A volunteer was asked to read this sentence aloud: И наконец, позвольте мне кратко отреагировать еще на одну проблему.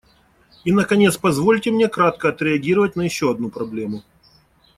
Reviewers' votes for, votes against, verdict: 1, 2, rejected